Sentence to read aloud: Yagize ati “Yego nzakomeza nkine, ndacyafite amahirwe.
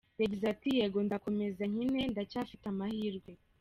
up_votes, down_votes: 2, 0